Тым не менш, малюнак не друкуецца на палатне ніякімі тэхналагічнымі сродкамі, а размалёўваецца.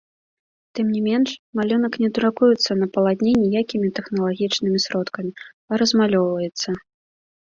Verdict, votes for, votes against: accepted, 2, 1